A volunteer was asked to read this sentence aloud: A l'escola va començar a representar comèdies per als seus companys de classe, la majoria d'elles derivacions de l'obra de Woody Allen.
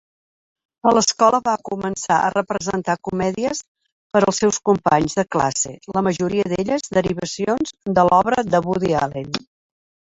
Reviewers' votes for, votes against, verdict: 3, 1, accepted